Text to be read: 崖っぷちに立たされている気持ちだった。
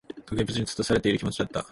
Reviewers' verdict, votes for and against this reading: rejected, 1, 2